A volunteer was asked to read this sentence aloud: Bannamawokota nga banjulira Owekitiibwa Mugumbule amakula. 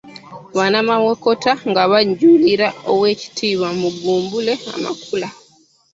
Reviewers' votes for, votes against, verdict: 1, 2, rejected